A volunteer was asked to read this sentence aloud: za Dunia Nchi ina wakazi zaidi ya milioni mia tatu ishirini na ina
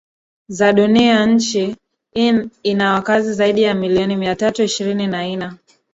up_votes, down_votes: 0, 2